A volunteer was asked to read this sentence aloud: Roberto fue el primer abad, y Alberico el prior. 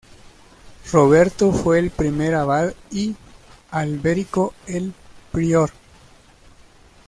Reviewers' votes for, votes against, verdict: 2, 1, accepted